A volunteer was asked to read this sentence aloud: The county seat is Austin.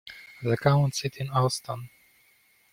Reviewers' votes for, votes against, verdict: 1, 2, rejected